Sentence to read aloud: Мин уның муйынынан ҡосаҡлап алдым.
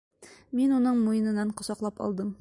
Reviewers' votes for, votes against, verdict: 2, 0, accepted